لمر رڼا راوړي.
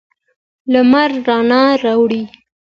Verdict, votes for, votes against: accepted, 2, 0